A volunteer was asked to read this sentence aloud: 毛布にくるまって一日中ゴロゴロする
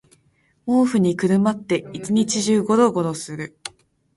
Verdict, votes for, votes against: accepted, 2, 0